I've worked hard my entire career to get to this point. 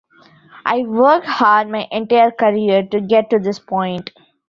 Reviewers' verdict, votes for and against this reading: rejected, 0, 2